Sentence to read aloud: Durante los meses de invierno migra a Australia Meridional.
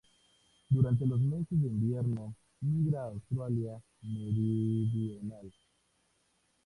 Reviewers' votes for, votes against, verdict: 0, 2, rejected